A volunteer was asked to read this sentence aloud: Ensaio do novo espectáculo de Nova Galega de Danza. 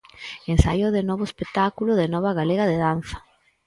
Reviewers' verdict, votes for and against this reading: rejected, 0, 4